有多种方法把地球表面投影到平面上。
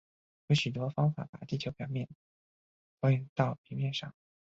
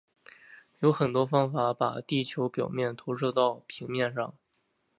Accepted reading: second